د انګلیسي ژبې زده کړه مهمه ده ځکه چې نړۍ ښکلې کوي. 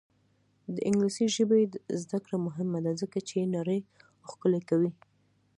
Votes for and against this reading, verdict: 2, 0, accepted